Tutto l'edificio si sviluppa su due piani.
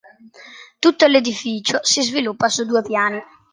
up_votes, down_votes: 2, 0